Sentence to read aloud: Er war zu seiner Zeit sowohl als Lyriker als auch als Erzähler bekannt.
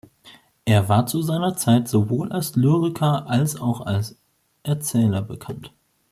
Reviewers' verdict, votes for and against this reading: accepted, 2, 0